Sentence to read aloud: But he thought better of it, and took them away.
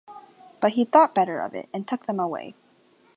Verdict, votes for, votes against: accepted, 2, 0